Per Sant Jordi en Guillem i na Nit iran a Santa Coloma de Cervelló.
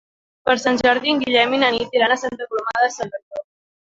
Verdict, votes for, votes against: accepted, 2, 0